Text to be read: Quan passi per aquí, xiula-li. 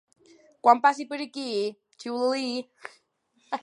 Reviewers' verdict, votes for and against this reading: rejected, 1, 2